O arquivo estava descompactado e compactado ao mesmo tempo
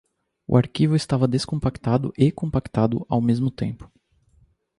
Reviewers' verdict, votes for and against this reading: accepted, 2, 0